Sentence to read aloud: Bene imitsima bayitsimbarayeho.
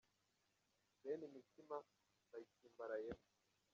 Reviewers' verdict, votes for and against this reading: rejected, 0, 2